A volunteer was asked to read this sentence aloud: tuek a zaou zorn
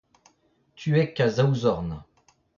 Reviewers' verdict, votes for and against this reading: rejected, 0, 2